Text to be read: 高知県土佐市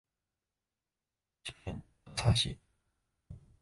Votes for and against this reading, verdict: 0, 2, rejected